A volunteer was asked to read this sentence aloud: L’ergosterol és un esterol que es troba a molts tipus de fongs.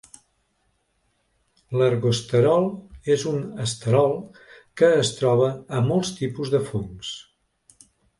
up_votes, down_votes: 2, 0